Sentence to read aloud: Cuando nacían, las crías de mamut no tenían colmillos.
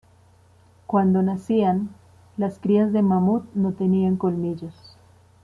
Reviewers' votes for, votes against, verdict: 2, 0, accepted